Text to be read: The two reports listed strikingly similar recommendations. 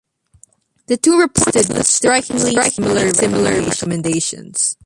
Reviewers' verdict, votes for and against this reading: rejected, 0, 2